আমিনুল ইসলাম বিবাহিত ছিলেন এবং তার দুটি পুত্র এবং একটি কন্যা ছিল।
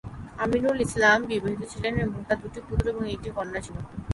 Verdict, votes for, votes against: accepted, 6, 3